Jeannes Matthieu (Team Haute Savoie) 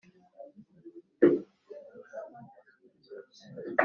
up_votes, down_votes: 0, 3